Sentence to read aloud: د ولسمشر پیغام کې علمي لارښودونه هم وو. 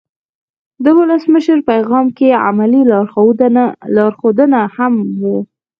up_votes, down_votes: 0, 4